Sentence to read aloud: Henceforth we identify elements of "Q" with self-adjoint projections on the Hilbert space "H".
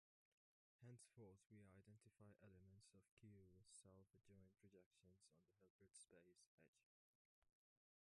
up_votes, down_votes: 1, 2